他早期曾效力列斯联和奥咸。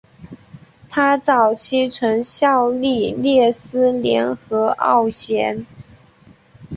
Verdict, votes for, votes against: accepted, 3, 0